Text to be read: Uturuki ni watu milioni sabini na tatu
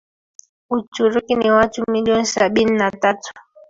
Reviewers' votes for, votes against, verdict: 1, 2, rejected